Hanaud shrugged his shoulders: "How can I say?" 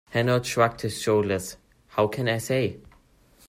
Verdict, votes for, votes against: accepted, 2, 0